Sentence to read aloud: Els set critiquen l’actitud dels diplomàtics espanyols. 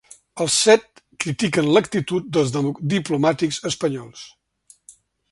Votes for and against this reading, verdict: 1, 2, rejected